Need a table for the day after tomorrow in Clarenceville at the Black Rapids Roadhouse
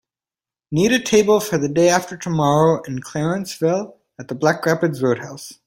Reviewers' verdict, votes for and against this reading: accepted, 2, 0